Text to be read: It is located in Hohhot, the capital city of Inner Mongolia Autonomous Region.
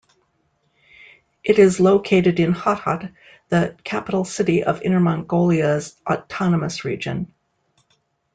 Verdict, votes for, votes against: rejected, 0, 2